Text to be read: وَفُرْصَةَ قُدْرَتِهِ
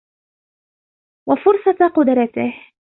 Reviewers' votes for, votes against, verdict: 2, 0, accepted